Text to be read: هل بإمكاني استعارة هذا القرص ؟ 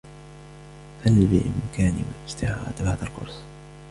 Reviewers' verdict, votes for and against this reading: accepted, 2, 0